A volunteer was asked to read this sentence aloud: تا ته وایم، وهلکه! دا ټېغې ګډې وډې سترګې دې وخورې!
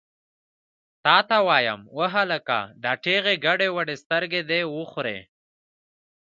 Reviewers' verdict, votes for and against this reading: accepted, 2, 1